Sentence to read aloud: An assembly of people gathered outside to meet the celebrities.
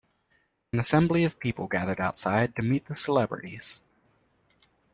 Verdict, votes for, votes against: accepted, 2, 0